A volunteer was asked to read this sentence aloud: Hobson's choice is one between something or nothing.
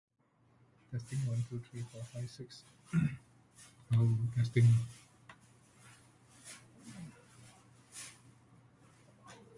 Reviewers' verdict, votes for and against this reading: rejected, 0, 2